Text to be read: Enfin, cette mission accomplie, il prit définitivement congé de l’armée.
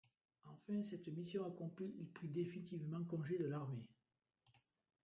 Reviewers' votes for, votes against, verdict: 0, 2, rejected